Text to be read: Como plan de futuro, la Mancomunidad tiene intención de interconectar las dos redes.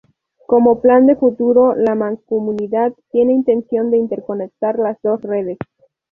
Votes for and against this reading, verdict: 2, 0, accepted